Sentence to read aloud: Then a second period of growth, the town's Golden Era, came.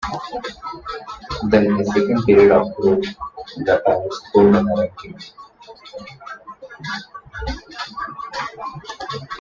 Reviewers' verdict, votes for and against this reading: rejected, 0, 2